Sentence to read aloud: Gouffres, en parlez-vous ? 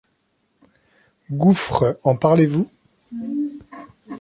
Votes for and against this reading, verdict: 2, 0, accepted